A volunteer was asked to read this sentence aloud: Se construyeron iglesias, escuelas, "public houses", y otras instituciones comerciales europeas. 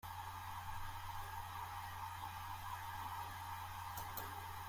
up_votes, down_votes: 0, 3